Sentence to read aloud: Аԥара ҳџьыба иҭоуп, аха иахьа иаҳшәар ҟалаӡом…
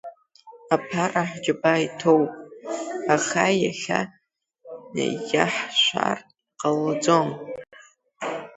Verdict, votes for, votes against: rejected, 0, 2